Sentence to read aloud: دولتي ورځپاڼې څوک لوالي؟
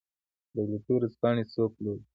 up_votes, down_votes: 0, 2